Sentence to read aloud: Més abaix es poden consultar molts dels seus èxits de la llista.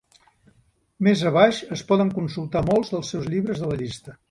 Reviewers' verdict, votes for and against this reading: rejected, 1, 2